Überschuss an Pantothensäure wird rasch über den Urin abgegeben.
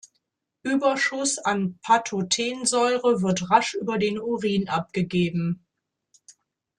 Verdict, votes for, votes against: rejected, 1, 2